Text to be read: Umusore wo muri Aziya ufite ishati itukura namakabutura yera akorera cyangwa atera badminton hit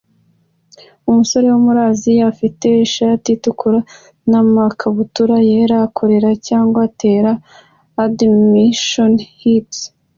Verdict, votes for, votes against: accepted, 2, 0